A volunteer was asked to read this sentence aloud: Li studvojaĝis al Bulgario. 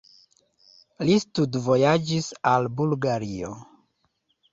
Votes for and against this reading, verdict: 2, 0, accepted